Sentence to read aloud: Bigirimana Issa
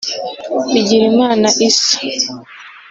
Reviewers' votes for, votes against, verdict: 1, 2, rejected